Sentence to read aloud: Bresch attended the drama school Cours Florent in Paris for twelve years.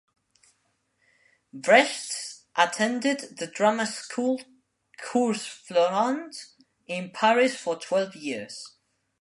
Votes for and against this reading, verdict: 0, 2, rejected